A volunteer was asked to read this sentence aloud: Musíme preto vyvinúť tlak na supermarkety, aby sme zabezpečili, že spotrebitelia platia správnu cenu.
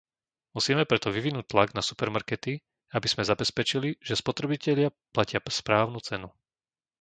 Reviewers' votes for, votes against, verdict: 0, 2, rejected